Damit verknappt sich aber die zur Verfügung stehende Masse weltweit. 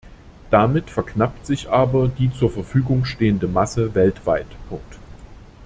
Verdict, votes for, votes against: rejected, 0, 2